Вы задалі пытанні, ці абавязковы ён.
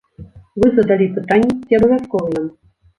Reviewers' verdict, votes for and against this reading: rejected, 1, 2